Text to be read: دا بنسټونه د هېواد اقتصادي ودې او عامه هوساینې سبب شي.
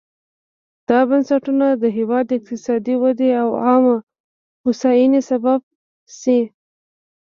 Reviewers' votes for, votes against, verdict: 2, 1, accepted